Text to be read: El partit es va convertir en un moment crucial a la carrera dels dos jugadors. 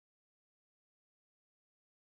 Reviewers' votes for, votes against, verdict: 0, 4, rejected